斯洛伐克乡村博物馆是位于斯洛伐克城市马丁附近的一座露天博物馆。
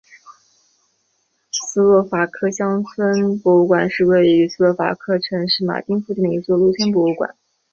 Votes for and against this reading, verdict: 3, 0, accepted